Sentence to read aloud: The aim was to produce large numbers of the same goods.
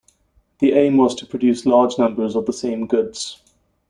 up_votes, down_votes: 2, 0